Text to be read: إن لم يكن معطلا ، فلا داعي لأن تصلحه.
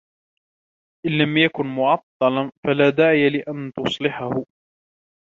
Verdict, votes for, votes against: rejected, 1, 2